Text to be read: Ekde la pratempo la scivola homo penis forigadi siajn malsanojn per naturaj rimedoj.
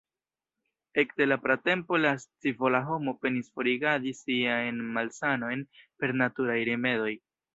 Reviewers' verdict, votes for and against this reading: rejected, 0, 2